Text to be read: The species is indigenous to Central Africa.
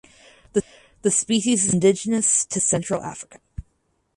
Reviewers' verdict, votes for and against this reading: rejected, 0, 4